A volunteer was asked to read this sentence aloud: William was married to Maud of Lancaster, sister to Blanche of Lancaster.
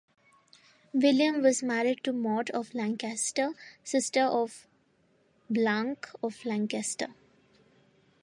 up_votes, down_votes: 0, 2